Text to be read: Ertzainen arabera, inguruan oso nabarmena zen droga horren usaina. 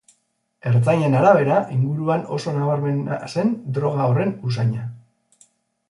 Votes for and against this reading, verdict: 2, 0, accepted